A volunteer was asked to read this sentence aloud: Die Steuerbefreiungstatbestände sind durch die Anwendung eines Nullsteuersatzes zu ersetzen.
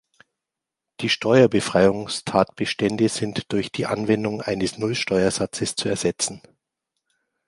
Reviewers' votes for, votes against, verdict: 2, 0, accepted